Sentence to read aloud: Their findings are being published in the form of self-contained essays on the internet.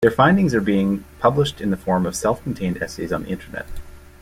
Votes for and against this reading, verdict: 2, 1, accepted